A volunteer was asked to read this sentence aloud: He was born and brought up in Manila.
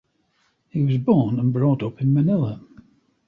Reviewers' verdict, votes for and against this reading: accepted, 2, 0